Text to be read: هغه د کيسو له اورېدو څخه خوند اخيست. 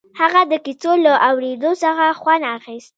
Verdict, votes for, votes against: accepted, 2, 0